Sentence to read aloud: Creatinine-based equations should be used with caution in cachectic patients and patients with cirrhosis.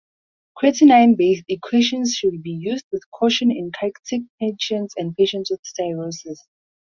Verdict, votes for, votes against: accepted, 4, 0